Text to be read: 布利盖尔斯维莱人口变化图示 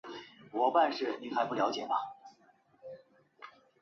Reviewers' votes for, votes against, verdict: 0, 2, rejected